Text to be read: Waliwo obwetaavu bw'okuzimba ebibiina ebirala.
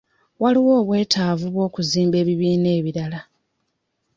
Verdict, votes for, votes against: accepted, 2, 0